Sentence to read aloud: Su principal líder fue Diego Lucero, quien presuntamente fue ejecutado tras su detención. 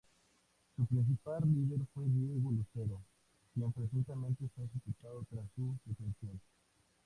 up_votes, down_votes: 2, 0